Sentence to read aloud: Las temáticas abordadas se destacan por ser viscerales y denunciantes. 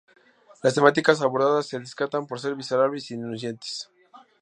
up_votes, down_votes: 2, 0